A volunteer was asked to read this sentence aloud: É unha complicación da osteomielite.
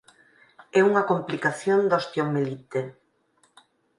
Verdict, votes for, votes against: accepted, 4, 0